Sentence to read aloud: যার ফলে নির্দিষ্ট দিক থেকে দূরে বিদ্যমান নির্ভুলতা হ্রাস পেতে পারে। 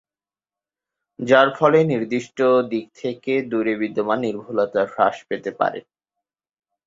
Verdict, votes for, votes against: accepted, 4, 0